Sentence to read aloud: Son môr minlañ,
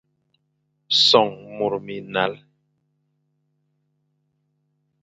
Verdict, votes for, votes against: rejected, 1, 2